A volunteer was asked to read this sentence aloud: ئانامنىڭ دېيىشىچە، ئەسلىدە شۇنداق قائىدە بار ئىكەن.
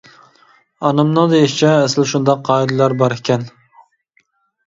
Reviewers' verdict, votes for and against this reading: rejected, 0, 2